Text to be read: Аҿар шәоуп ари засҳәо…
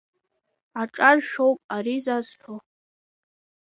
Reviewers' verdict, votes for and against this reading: accepted, 2, 0